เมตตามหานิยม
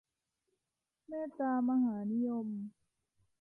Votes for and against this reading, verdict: 2, 0, accepted